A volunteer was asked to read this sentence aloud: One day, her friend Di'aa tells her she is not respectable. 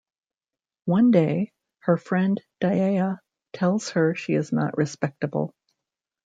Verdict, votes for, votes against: rejected, 1, 2